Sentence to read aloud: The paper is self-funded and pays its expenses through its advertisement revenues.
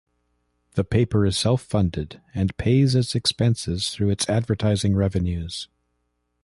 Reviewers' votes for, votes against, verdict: 1, 2, rejected